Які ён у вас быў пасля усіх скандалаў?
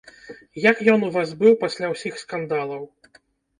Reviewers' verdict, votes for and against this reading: rejected, 0, 2